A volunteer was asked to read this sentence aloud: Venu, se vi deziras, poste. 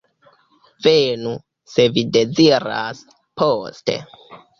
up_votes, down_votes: 0, 2